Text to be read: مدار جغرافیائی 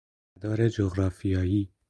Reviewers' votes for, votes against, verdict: 2, 4, rejected